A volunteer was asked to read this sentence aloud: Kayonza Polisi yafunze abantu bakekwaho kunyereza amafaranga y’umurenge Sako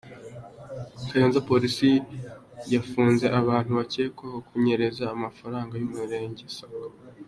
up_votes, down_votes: 2, 0